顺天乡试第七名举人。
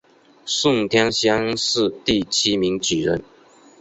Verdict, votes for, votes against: accepted, 5, 0